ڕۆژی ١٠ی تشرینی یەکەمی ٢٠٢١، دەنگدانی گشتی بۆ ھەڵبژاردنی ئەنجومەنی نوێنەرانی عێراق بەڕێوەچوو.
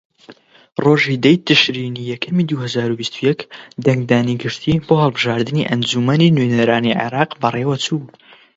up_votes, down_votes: 0, 2